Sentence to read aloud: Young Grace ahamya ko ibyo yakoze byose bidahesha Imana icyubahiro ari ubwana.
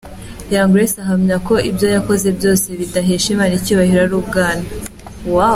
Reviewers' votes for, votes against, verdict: 2, 0, accepted